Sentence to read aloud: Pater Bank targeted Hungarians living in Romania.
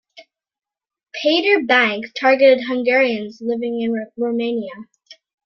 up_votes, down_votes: 2, 1